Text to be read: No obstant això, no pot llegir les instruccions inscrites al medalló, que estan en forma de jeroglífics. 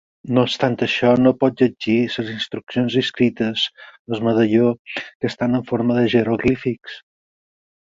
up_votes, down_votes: 0, 4